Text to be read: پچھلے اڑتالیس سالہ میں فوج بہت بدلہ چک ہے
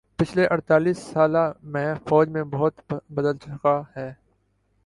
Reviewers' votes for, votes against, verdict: 1, 3, rejected